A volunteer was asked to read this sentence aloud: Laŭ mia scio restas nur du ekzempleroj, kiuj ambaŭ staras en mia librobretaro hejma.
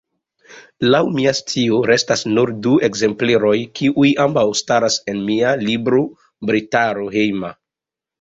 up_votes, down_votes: 2, 0